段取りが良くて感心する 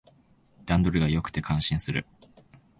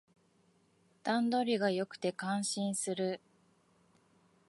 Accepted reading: second